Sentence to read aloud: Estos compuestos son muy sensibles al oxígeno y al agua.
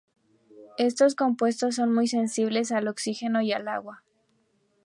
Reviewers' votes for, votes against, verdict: 2, 0, accepted